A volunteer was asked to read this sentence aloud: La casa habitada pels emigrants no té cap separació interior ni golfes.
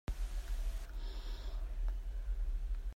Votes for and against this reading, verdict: 0, 2, rejected